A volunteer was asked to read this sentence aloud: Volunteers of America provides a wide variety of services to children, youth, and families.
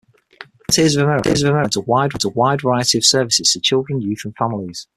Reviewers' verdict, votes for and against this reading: rejected, 0, 6